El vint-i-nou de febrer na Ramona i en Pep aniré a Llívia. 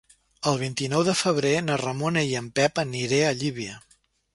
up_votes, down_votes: 3, 0